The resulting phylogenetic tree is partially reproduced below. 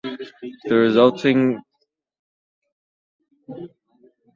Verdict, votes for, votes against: rejected, 0, 2